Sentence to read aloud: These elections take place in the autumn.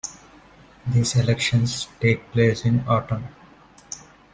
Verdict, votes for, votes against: rejected, 1, 2